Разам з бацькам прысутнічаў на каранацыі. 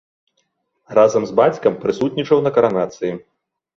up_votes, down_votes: 0, 2